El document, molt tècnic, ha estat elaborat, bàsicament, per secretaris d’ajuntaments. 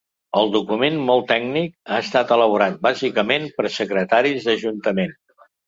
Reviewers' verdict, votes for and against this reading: rejected, 0, 2